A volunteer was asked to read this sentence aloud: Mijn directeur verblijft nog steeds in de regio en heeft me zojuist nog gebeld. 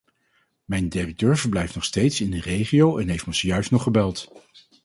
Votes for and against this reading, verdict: 2, 2, rejected